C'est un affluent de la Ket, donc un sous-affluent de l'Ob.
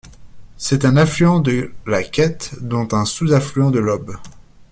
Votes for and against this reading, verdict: 1, 2, rejected